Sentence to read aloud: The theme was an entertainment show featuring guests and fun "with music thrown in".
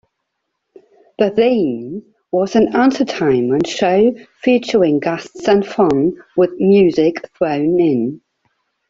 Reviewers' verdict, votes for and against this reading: rejected, 0, 2